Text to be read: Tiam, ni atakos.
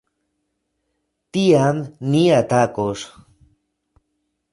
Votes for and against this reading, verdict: 2, 0, accepted